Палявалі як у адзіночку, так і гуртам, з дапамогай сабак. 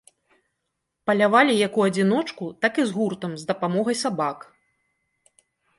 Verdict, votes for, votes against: rejected, 1, 2